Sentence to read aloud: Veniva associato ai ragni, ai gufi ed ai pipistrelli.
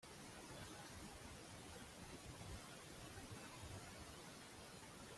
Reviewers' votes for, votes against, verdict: 0, 2, rejected